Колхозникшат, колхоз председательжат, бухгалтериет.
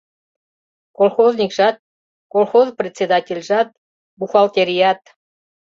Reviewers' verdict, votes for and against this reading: rejected, 0, 2